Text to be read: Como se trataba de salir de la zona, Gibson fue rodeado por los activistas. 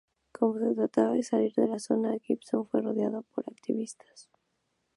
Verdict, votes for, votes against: accepted, 2, 0